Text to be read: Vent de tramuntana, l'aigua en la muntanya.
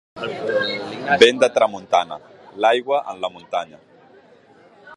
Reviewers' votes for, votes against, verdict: 2, 1, accepted